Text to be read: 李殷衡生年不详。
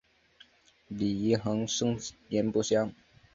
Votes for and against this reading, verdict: 0, 2, rejected